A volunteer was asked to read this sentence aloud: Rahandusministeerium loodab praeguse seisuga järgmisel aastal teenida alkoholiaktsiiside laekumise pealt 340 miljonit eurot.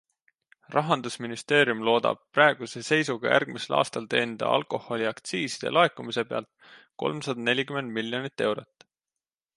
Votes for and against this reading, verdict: 0, 2, rejected